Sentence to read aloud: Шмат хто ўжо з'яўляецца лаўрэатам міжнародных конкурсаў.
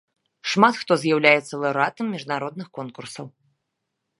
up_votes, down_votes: 0, 2